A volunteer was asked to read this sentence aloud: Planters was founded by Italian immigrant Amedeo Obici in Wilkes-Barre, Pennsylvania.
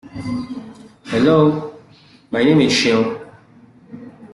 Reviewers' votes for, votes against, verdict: 0, 2, rejected